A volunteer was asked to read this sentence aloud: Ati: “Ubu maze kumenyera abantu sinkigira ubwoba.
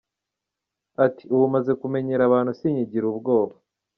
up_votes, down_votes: 2, 0